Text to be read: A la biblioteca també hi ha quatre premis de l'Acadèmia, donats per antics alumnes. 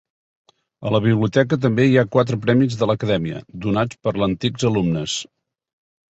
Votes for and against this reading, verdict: 1, 2, rejected